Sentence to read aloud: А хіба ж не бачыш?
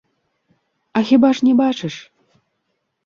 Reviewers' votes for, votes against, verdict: 0, 2, rejected